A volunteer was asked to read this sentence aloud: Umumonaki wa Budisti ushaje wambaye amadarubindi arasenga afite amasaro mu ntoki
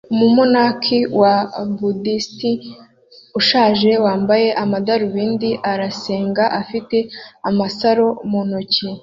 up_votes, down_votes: 2, 0